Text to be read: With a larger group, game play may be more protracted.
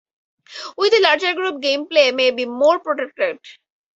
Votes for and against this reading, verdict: 0, 4, rejected